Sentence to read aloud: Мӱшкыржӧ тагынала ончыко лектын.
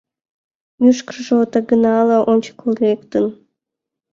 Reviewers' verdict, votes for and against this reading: rejected, 1, 2